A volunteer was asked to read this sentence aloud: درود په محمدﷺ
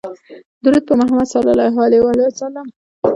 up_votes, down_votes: 2, 0